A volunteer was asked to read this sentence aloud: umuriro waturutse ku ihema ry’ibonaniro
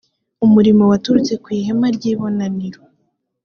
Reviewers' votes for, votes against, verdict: 3, 0, accepted